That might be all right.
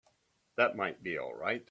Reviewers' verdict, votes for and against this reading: accepted, 2, 0